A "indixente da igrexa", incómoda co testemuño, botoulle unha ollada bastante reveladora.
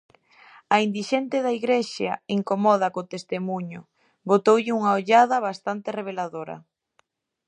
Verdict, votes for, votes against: rejected, 0, 2